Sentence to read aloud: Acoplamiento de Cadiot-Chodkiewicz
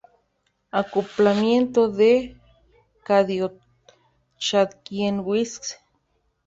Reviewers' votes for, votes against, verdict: 0, 2, rejected